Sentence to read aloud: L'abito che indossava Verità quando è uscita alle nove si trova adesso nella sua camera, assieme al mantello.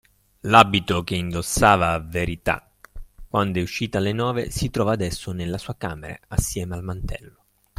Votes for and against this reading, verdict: 2, 0, accepted